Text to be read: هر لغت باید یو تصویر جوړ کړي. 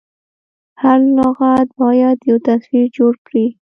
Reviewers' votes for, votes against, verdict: 1, 2, rejected